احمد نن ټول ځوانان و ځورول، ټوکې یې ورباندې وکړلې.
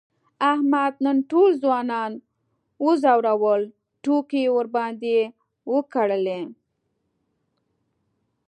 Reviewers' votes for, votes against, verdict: 2, 0, accepted